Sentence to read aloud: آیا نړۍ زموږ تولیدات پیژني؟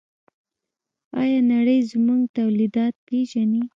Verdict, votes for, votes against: accepted, 2, 0